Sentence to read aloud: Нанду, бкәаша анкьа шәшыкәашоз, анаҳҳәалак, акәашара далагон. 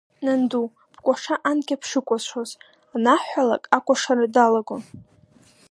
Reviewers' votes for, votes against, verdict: 1, 2, rejected